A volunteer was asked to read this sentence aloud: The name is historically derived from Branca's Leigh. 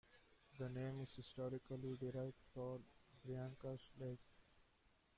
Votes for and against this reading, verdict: 0, 2, rejected